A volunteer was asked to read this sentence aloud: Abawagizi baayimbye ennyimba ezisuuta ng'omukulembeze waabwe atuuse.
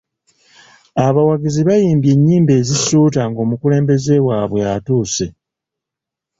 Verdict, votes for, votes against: accepted, 2, 0